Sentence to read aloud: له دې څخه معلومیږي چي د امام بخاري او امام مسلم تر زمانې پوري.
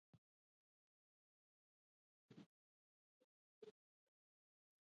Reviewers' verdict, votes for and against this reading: rejected, 0, 2